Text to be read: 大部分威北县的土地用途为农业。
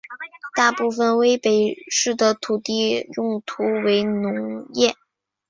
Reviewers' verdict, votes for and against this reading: rejected, 0, 2